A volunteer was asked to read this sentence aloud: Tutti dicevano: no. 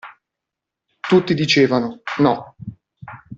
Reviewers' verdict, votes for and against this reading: accepted, 2, 0